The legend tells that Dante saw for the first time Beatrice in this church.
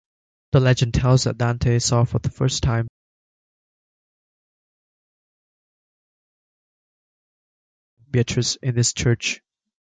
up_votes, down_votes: 0, 2